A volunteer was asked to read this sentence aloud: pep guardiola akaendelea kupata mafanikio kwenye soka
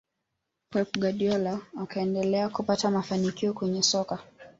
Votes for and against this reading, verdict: 0, 2, rejected